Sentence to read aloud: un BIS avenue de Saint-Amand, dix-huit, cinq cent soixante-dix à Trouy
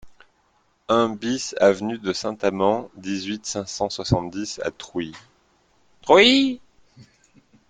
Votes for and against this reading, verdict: 1, 2, rejected